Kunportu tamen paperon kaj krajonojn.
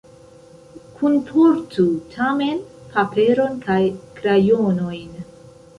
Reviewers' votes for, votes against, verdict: 0, 2, rejected